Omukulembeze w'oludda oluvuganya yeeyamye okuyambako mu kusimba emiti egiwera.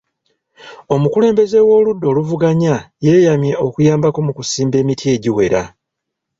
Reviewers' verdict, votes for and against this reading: rejected, 1, 2